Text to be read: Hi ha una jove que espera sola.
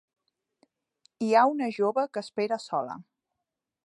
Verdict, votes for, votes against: accepted, 4, 0